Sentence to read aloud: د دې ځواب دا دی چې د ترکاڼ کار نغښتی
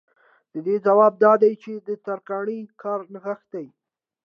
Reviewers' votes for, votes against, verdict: 2, 0, accepted